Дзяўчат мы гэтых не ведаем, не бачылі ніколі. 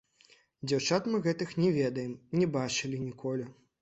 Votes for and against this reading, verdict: 1, 2, rejected